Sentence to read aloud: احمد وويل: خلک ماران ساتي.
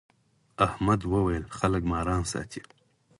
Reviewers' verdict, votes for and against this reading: rejected, 2, 4